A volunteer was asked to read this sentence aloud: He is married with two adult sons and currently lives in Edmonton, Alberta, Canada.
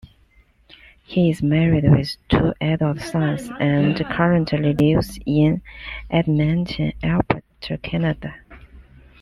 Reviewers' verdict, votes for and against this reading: accepted, 2, 1